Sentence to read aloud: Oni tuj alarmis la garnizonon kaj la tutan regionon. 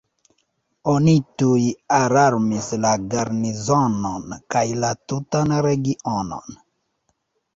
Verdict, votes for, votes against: rejected, 1, 2